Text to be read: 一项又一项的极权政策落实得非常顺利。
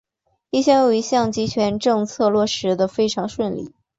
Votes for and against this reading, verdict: 7, 0, accepted